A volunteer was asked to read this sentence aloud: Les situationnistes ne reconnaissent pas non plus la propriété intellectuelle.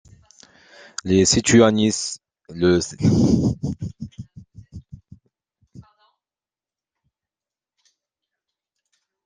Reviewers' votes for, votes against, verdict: 0, 2, rejected